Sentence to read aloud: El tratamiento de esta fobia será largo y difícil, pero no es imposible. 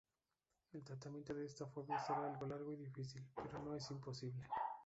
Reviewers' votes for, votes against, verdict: 0, 2, rejected